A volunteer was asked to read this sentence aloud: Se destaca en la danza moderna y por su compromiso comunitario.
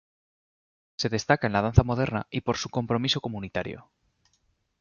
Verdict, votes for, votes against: rejected, 1, 2